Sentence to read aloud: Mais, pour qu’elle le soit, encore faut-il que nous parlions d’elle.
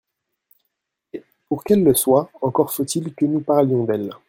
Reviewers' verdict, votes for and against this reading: rejected, 1, 2